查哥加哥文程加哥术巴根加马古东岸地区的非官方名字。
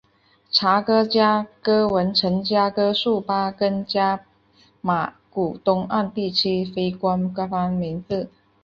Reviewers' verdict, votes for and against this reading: accepted, 2, 1